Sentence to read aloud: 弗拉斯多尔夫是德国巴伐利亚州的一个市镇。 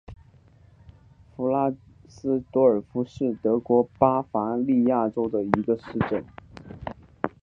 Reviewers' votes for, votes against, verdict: 0, 2, rejected